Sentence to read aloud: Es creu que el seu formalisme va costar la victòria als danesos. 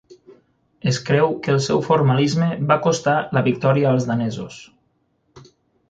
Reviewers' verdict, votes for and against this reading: accepted, 9, 0